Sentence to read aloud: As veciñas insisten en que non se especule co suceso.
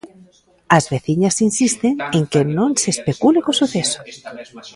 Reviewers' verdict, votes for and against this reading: rejected, 0, 2